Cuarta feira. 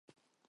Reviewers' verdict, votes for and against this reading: rejected, 0, 4